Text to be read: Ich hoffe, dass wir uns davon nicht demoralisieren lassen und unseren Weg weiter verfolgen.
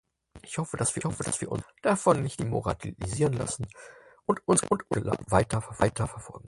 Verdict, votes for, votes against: rejected, 0, 4